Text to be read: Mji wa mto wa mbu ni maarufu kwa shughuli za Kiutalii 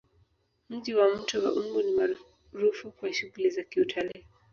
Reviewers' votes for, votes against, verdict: 2, 1, accepted